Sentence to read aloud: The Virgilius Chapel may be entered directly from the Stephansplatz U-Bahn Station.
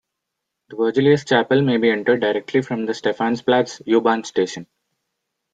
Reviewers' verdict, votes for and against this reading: rejected, 0, 2